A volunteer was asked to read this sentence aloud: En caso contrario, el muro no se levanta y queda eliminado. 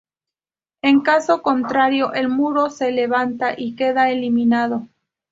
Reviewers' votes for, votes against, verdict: 0, 2, rejected